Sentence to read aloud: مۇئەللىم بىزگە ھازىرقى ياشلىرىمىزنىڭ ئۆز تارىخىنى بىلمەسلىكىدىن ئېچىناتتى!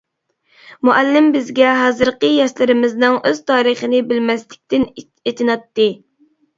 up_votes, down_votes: 0, 2